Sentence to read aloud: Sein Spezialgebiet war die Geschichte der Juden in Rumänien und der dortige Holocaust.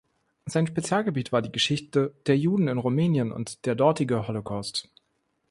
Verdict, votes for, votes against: accepted, 2, 0